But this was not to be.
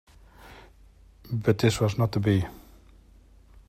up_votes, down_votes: 2, 0